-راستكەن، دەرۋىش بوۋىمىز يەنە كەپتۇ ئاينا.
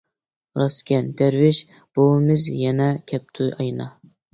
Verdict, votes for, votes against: accepted, 2, 0